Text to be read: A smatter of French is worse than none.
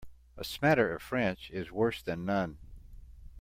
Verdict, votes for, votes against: accepted, 2, 0